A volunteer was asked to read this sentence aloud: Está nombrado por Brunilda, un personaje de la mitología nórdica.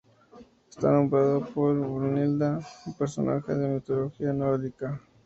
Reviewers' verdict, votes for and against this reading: accepted, 2, 0